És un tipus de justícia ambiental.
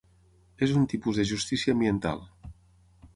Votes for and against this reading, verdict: 6, 0, accepted